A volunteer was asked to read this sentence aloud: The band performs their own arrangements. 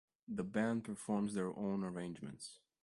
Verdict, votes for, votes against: accepted, 2, 0